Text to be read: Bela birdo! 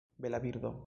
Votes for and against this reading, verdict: 2, 0, accepted